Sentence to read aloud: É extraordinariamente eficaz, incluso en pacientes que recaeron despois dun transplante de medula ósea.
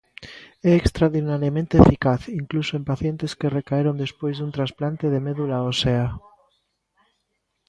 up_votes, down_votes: 0, 2